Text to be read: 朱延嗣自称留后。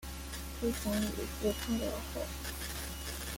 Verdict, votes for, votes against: rejected, 0, 3